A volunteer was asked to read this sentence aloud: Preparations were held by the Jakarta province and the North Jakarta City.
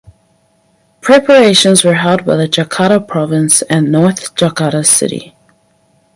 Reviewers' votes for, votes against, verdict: 0, 4, rejected